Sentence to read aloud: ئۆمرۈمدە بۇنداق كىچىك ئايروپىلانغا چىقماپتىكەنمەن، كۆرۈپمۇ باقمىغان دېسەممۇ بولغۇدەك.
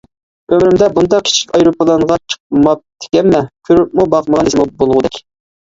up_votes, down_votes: 2, 1